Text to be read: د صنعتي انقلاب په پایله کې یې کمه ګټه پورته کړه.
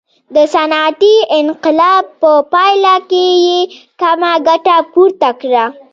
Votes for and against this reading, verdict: 2, 0, accepted